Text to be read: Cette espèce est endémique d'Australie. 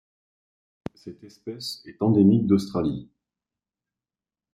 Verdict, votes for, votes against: accepted, 2, 0